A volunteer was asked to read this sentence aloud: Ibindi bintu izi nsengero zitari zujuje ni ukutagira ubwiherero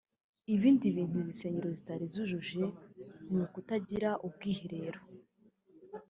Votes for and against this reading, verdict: 1, 2, rejected